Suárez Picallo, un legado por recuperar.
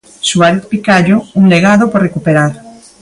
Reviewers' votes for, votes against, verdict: 1, 2, rejected